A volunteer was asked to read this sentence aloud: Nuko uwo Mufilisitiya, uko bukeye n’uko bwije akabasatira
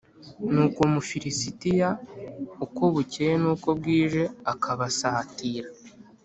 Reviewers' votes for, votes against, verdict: 2, 0, accepted